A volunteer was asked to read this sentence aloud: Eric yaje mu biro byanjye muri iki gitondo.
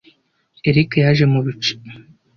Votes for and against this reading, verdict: 0, 2, rejected